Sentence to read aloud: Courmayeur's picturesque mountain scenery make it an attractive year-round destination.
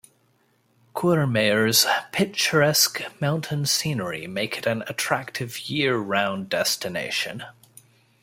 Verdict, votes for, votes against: accepted, 2, 0